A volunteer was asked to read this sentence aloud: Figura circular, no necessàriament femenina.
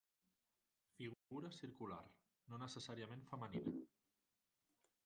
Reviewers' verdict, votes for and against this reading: rejected, 0, 2